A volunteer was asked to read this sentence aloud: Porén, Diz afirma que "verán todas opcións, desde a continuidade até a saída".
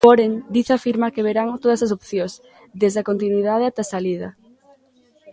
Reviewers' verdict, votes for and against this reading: rejected, 0, 2